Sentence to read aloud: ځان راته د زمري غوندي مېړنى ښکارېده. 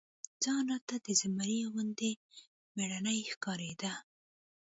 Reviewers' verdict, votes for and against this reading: accepted, 2, 0